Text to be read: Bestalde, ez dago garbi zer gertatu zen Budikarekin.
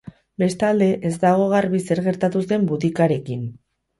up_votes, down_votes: 2, 2